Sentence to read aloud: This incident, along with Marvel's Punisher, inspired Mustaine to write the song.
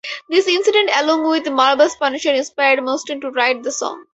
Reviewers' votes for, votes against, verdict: 2, 0, accepted